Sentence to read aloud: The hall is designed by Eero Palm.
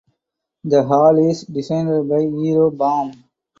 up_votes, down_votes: 0, 4